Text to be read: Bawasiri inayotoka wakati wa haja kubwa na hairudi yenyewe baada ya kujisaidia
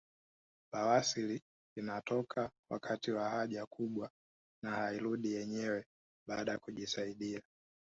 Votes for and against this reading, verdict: 1, 2, rejected